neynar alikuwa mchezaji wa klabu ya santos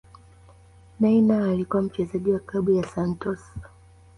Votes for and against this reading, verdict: 1, 2, rejected